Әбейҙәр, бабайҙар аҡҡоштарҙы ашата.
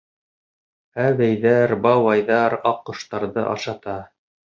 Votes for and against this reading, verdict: 2, 0, accepted